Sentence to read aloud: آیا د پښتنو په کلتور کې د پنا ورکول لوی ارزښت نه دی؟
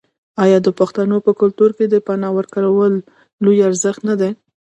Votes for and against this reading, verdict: 1, 2, rejected